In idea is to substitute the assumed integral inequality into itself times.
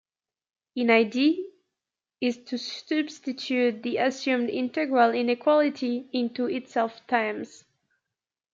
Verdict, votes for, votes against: accepted, 2, 1